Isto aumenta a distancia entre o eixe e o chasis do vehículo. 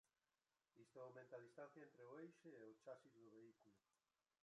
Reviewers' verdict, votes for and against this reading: rejected, 0, 2